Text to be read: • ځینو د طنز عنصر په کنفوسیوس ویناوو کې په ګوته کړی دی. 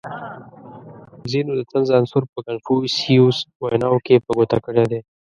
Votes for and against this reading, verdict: 0, 2, rejected